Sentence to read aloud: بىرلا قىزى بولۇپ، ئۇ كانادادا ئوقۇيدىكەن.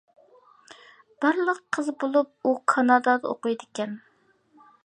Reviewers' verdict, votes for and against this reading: accepted, 2, 0